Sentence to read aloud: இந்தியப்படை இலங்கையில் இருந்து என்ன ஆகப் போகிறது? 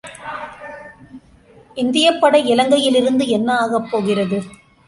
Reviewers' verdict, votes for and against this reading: accepted, 2, 0